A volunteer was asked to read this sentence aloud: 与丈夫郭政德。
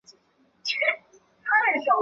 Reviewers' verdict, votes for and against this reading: rejected, 2, 3